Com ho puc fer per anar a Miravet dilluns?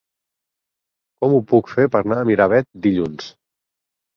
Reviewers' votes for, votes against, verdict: 2, 4, rejected